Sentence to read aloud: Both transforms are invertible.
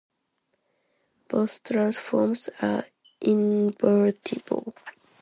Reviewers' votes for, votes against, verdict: 2, 0, accepted